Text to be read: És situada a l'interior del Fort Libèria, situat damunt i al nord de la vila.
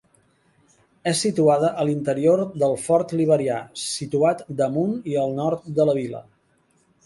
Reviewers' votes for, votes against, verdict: 0, 2, rejected